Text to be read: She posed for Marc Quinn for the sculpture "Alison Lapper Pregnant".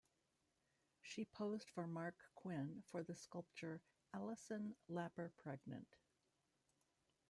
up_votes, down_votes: 1, 2